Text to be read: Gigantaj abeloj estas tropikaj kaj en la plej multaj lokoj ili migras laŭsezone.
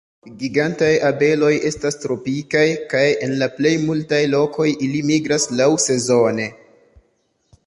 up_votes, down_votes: 0, 2